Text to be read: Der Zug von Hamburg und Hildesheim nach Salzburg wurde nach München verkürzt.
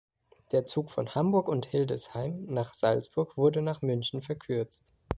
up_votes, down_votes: 2, 0